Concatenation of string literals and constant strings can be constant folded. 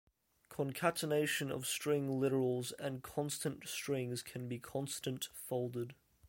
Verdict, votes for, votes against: accepted, 2, 0